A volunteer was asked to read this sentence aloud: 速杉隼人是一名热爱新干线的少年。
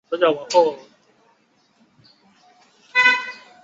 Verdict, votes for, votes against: rejected, 0, 2